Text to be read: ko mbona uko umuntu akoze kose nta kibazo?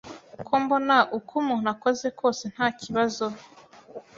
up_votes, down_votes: 2, 0